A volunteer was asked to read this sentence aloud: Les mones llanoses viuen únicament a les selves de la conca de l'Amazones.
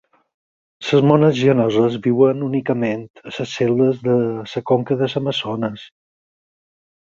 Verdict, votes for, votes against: rejected, 2, 4